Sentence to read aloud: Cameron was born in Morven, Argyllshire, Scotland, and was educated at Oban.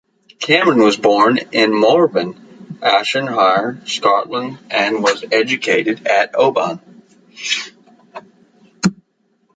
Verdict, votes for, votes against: rejected, 0, 2